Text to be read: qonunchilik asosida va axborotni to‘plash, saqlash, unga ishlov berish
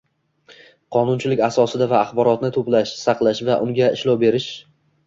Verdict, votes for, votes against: rejected, 1, 2